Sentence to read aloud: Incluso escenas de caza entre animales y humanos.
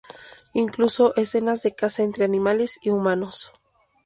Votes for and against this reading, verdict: 2, 0, accepted